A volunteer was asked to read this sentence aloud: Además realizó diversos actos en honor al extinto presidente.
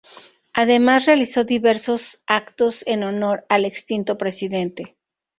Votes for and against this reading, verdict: 4, 0, accepted